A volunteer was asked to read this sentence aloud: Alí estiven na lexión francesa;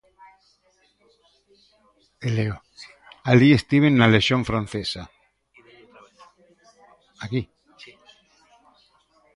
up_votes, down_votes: 0, 2